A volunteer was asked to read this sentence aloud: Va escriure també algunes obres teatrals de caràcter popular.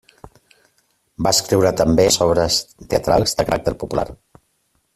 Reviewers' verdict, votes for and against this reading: rejected, 0, 2